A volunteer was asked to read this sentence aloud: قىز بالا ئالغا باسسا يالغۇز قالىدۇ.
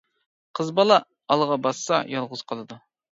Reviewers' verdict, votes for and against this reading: accepted, 2, 0